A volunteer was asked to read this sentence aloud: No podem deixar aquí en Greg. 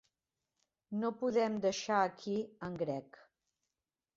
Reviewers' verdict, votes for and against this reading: accepted, 4, 0